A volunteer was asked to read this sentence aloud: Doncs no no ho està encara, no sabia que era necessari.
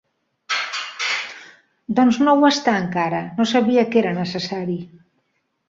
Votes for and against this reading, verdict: 0, 2, rejected